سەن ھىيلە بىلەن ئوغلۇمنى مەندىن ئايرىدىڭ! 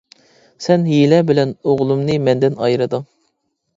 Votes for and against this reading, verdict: 2, 0, accepted